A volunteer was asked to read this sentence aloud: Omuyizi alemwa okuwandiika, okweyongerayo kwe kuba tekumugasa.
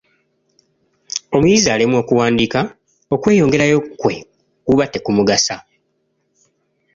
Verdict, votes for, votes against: accepted, 2, 0